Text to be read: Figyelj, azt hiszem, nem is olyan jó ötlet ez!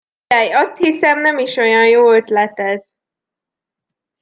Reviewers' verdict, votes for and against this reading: rejected, 0, 2